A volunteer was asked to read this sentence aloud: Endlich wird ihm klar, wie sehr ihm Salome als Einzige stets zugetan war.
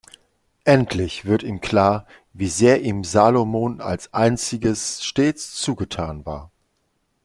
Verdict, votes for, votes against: rejected, 1, 2